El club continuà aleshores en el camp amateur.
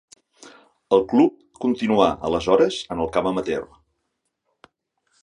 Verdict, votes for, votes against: accepted, 4, 0